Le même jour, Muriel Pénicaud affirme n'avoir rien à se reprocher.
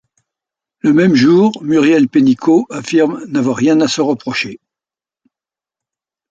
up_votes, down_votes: 2, 0